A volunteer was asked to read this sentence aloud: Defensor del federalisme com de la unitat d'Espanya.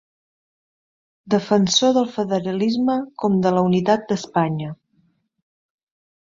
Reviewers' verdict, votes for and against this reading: accepted, 3, 0